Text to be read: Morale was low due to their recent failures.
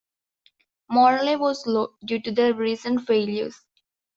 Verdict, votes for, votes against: rejected, 1, 2